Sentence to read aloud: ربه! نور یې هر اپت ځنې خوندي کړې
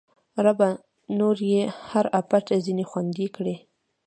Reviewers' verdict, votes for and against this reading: rejected, 1, 2